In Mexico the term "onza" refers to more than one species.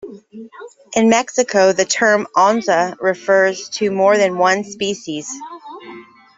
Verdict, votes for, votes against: accepted, 2, 0